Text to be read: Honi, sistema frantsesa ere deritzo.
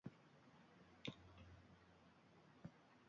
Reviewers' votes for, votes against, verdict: 0, 3, rejected